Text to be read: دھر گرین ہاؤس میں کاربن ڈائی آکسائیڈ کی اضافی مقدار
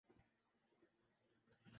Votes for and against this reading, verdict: 0, 3, rejected